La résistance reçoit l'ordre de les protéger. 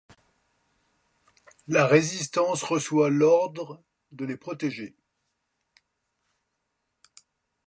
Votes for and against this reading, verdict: 2, 0, accepted